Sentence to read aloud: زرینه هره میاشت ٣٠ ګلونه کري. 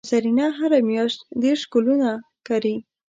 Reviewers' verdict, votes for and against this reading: rejected, 0, 2